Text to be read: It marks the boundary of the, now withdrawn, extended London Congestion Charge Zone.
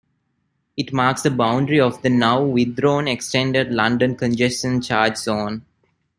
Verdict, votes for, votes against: accepted, 2, 0